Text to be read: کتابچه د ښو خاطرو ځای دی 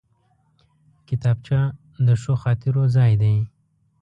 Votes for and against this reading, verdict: 1, 2, rejected